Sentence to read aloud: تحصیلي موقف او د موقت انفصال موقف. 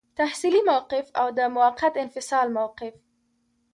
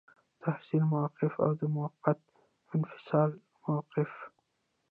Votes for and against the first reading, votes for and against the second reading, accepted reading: 2, 0, 1, 2, first